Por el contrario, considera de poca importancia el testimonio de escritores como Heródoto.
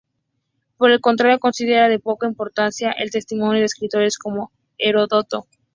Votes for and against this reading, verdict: 2, 0, accepted